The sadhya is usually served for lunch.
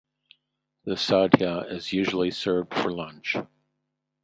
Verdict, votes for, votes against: accepted, 4, 0